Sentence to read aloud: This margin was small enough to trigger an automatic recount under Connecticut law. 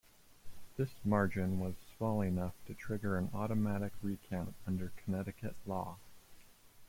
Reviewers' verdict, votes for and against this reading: accepted, 2, 0